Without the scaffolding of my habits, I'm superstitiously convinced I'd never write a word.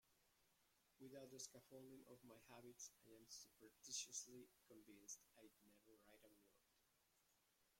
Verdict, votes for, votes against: rejected, 0, 2